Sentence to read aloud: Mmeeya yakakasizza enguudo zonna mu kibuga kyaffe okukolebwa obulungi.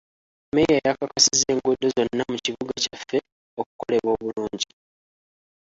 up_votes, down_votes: 0, 2